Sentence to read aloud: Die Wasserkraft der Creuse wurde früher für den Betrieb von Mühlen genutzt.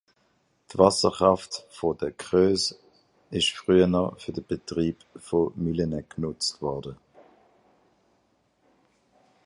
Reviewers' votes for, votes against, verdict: 0, 2, rejected